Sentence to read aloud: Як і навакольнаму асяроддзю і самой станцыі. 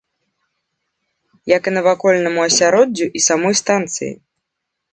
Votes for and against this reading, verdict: 2, 0, accepted